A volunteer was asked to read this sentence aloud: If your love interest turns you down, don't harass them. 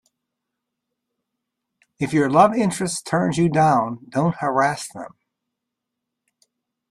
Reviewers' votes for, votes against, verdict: 2, 0, accepted